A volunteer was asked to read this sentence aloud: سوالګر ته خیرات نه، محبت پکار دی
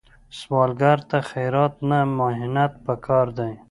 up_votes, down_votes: 1, 2